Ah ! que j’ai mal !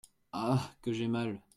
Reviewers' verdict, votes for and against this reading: accepted, 2, 0